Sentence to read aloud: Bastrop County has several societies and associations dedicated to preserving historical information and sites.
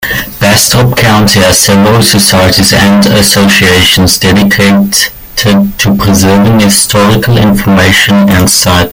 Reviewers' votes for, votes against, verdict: 0, 2, rejected